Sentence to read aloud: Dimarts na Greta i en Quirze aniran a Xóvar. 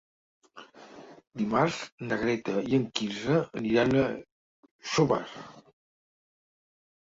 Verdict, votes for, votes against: rejected, 0, 2